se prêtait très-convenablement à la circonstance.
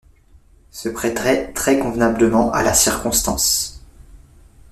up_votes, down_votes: 0, 2